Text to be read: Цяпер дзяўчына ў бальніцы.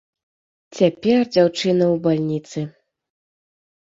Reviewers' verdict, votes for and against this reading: accepted, 3, 0